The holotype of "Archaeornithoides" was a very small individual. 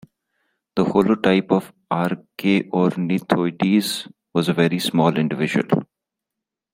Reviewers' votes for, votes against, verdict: 0, 2, rejected